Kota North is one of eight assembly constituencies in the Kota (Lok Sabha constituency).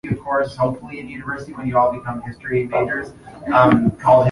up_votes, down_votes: 0, 2